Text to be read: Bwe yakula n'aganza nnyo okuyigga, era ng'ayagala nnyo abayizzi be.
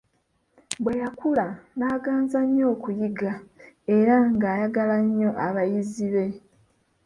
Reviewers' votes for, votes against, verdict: 0, 2, rejected